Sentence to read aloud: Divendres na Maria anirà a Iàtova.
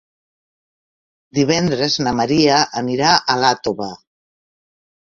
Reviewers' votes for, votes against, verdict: 1, 2, rejected